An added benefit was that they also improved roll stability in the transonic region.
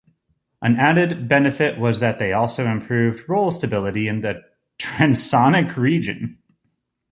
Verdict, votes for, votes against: accepted, 2, 0